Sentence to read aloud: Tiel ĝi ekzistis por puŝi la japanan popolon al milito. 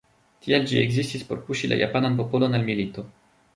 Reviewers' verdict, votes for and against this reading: rejected, 0, 2